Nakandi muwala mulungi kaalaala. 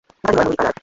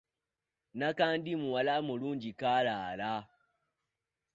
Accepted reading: second